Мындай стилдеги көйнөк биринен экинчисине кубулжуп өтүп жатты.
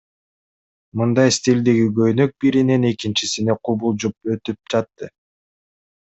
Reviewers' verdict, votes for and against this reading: accepted, 2, 0